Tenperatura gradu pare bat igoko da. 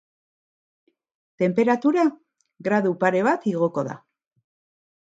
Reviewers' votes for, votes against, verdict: 6, 0, accepted